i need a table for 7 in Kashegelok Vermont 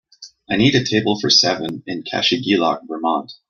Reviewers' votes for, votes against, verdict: 0, 2, rejected